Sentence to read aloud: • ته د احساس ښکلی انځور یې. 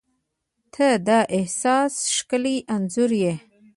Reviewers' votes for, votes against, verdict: 0, 2, rejected